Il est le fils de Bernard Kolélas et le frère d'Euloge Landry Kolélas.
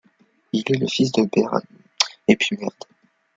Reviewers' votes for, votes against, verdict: 1, 3, rejected